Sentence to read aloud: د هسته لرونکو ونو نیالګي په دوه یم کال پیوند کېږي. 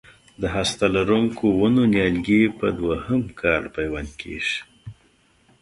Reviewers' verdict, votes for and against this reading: accepted, 2, 0